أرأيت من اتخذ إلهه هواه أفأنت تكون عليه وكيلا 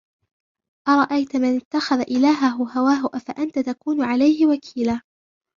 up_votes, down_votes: 1, 2